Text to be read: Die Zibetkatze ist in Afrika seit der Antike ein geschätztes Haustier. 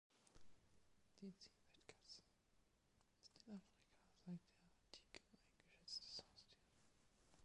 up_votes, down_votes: 0, 2